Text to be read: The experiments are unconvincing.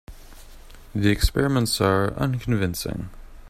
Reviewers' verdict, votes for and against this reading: accepted, 3, 0